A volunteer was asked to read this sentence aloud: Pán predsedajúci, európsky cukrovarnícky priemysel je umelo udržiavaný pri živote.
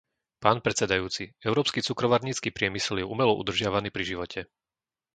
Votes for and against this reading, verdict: 2, 0, accepted